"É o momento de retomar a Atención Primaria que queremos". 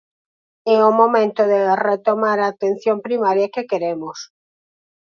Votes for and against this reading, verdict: 0, 4, rejected